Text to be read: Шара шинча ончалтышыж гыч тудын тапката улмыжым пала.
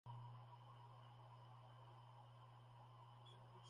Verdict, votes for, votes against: rejected, 0, 2